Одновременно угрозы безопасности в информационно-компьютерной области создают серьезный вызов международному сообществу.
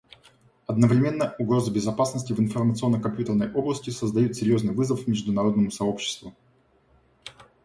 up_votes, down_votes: 2, 0